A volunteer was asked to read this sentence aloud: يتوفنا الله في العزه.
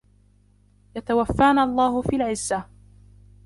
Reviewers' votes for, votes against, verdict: 1, 2, rejected